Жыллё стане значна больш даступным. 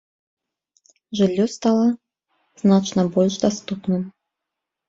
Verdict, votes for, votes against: rejected, 1, 2